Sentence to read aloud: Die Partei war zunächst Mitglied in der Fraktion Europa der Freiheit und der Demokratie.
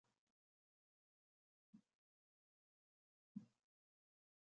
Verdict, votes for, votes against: rejected, 0, 2